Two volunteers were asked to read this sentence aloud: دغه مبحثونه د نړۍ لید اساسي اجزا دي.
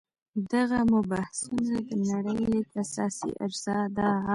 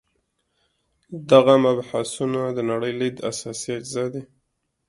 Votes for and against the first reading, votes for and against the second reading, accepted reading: 1, 2, 2, 0, second